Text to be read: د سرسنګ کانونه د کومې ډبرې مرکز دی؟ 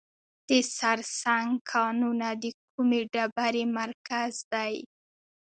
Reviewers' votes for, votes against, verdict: 2, 0, accepted